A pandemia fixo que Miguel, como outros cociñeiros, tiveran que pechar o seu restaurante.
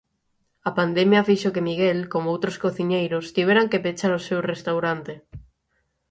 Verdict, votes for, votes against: accepted, 6, 0